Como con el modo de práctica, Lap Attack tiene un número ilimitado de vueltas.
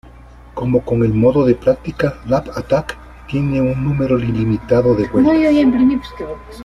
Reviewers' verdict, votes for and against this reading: rejected, 1, 2